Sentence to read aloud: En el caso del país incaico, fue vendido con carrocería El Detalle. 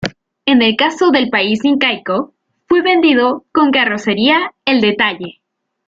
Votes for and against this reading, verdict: 0, 2, rejected